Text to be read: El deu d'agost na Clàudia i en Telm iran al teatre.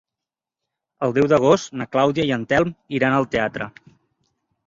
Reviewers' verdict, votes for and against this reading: accepted, 3, 0